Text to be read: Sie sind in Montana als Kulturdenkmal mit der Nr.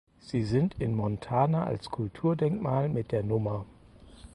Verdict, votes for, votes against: accepted, 4, 0